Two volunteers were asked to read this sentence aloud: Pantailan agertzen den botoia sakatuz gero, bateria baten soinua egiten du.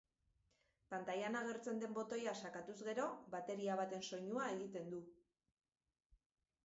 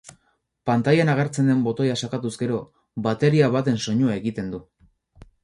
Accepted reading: first